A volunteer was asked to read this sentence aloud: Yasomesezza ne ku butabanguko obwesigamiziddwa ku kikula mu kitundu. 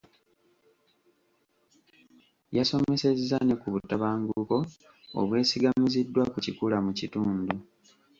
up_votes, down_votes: 1, 2